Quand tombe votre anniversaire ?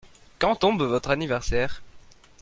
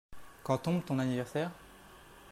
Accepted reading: first